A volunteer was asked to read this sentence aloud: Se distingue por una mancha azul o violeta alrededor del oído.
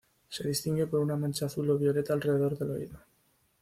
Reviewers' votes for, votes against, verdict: 2, 0, accepted